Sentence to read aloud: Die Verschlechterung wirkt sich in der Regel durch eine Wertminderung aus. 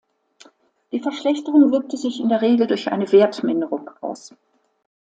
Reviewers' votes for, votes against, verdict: 1, 2, rejected